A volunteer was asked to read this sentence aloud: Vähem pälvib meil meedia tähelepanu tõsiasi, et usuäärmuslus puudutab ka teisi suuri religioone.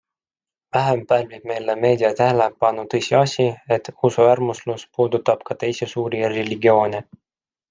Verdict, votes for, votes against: accepted, 2, 0